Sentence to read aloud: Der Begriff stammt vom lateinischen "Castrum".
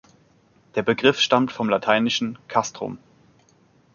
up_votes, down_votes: 2, 0